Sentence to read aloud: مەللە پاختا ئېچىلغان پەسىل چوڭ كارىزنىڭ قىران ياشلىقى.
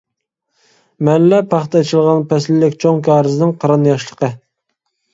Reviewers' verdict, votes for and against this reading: rejected, 1, 2